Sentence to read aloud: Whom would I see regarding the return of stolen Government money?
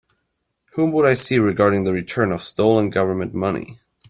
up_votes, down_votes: 3, 0